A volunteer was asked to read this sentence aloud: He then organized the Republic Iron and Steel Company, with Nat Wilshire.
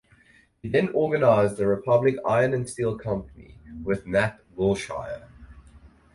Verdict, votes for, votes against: rejected, 2, 2